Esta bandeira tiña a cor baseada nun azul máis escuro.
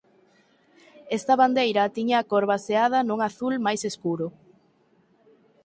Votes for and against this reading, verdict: 4, 0, accepted